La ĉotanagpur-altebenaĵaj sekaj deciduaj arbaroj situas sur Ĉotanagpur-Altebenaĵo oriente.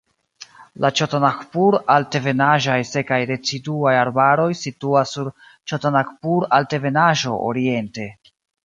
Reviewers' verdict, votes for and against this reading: accepted, 2, 0